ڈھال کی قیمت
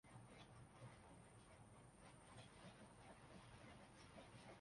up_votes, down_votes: 0, 2